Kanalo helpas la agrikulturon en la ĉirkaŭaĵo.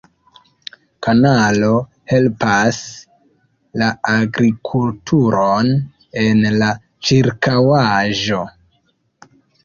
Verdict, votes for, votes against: accepted, 3, 0